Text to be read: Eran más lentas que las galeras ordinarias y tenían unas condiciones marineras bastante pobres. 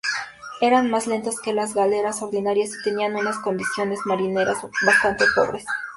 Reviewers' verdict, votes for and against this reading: accepted, 2, 0